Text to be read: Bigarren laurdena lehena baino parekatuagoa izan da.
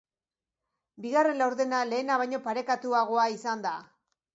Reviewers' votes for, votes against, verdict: 2, 0, accepted